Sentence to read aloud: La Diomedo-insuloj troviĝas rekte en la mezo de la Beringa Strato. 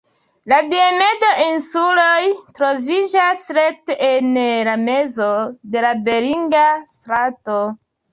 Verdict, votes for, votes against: accepted, 2, 0